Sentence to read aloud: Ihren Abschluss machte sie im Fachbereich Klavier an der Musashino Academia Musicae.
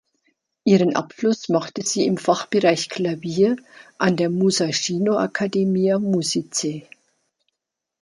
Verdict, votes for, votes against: accepted, 2, 0